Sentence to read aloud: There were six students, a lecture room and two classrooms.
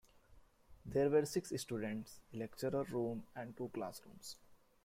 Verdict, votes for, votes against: accepted, 2, 1